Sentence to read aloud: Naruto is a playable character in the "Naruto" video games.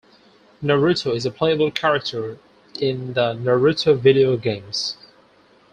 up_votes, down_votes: 4, 0